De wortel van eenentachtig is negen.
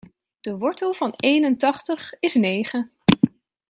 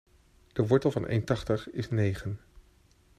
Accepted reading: first